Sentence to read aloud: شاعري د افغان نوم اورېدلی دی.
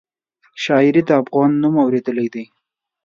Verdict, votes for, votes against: accepted, 5, 0